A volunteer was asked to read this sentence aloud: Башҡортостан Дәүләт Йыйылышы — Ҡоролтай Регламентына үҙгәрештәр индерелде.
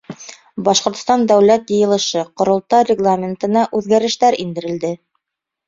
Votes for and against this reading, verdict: 2, 0, accepted